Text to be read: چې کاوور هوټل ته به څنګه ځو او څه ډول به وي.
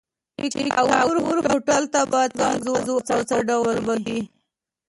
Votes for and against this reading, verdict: 0, 2, rejected